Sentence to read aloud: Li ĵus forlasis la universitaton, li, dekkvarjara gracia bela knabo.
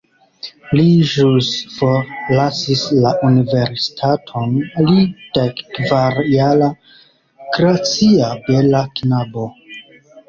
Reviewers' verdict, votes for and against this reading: rejected, 1, 2